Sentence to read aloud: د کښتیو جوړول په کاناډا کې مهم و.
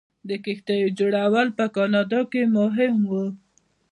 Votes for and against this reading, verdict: 1, 2, rejected